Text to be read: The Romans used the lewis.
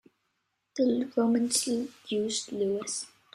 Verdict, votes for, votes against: rejected, 1, 2